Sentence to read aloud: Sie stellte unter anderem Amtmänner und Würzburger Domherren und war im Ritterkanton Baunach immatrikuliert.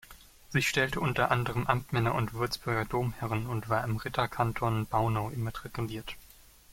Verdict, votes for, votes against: rejected, 0, 2